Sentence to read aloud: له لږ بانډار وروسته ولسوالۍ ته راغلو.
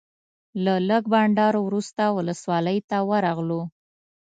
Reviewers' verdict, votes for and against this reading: rejected, 0, 2